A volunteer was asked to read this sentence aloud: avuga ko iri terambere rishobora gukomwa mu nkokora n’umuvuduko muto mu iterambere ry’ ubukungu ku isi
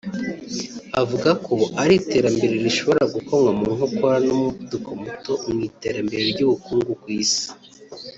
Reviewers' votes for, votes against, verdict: 1, 2, rejected